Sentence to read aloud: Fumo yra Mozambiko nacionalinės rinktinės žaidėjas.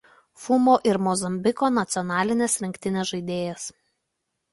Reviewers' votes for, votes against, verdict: 1, 2, rejected